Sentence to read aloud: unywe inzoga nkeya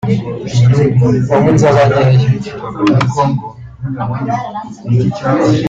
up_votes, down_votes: 0, 2